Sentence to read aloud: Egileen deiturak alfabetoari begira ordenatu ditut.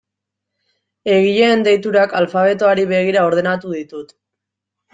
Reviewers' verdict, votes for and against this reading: accepted, 2, 0